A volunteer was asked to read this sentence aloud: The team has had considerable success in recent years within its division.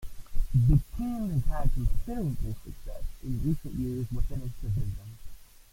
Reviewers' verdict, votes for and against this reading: rejected, 0, 2